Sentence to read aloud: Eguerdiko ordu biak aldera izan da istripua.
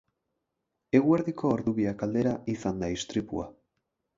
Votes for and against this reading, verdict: 6, 0, accepted